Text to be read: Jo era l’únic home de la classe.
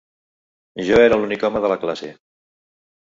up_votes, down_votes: 4, 0